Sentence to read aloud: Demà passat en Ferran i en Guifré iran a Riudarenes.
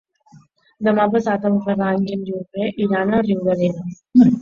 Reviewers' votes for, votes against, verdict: 0, 2, rejected